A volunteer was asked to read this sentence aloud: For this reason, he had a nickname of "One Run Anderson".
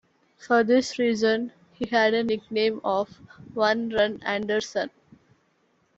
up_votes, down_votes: 2, 0